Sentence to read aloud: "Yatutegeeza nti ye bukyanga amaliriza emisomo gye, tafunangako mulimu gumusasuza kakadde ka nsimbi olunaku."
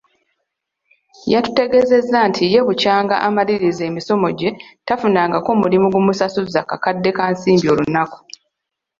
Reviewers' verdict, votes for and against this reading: accepted, 2, 0